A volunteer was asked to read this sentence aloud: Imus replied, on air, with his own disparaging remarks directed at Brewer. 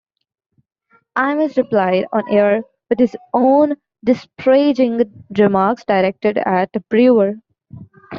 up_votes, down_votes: 1, 2